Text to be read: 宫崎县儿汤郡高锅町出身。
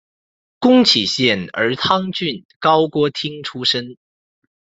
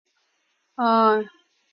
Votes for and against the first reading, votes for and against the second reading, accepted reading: 2, 0, 0, 4, first